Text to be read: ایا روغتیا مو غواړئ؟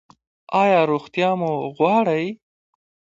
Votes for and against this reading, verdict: 2, 1, accepted